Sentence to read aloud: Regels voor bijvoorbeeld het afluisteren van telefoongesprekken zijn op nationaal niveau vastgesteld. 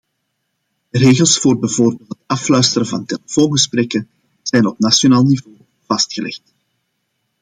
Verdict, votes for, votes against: rejected, 0, 2